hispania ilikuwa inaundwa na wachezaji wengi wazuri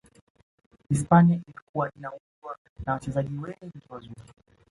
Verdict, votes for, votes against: accepted, 2, 0